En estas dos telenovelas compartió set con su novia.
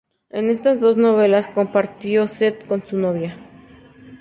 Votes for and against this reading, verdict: 0, 2, rejected